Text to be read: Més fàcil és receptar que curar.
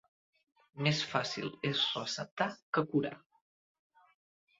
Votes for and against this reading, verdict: 2, 1, accepted